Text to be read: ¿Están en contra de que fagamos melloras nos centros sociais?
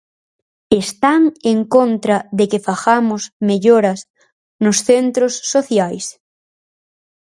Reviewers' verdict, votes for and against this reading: accepted, 4, 0